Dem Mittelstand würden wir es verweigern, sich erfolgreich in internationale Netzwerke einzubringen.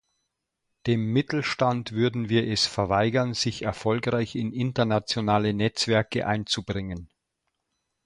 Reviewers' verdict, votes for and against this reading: accepted, 2, 0